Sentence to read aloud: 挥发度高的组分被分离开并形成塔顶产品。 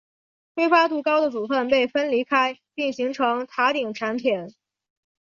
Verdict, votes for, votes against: accepted, 6, 1